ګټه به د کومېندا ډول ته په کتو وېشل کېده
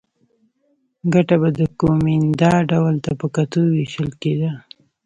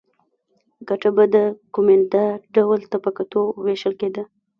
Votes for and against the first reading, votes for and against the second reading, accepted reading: 1, 3, 2, 0, second